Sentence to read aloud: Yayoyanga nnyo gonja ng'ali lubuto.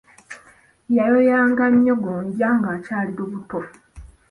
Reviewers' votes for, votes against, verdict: 0, 2, rejected